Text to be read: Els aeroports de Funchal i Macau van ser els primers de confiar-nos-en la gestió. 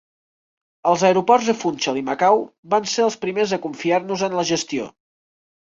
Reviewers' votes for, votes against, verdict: 3, 1, accepted